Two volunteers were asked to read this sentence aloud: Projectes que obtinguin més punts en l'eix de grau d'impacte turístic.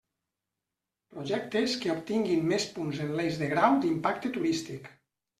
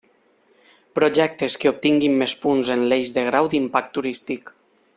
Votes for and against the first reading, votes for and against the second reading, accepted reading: 2, 0, 0, 2, first